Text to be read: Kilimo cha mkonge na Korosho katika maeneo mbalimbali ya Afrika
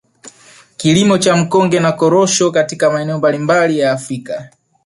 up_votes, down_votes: 1, 2